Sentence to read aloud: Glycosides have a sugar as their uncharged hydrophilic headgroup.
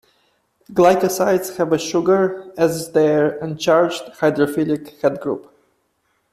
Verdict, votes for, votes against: accepted, 2, 0